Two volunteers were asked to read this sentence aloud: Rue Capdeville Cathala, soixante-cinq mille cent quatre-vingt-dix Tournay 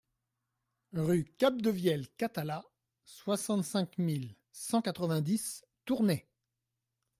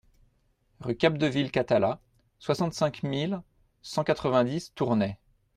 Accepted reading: second